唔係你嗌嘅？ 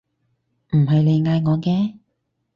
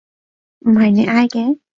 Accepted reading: second